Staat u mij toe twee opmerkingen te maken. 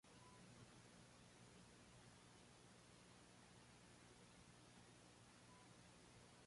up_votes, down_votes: 0, 2